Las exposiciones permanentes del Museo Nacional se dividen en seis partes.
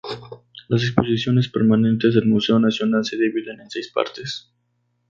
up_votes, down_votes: 2, 0